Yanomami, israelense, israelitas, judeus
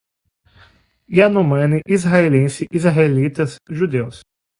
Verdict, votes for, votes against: rejected, 0, 2